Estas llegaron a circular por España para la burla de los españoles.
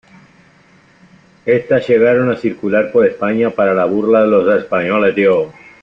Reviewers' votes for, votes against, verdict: 0, 2, rejected